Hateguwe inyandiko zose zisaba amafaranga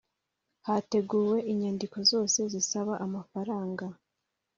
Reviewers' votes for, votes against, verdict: 2, 0, accepted